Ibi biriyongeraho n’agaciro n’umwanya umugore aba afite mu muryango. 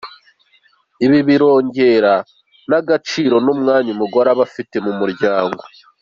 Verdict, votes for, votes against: rejected, 1, 2